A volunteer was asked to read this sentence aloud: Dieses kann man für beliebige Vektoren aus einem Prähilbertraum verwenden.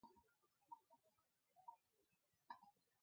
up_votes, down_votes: 0, 2